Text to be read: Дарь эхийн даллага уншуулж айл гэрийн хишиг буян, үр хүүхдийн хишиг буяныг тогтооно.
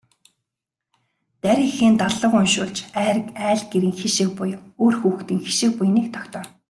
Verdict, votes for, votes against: rejected, 1, 2